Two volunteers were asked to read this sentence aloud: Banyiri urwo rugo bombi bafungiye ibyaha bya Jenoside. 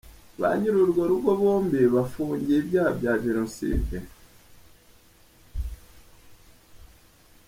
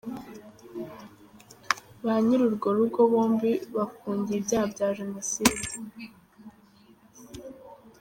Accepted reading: first